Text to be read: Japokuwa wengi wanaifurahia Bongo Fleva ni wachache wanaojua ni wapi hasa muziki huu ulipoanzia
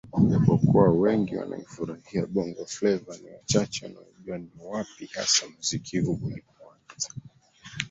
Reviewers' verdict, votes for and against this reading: rejected, 0, 2